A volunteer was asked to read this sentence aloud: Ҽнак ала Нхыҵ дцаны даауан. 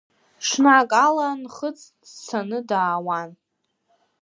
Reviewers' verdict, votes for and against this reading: rejected, 0, 2